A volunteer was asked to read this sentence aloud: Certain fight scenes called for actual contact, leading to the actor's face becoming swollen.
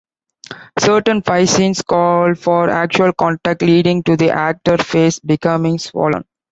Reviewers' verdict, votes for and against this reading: rejected, 1, 2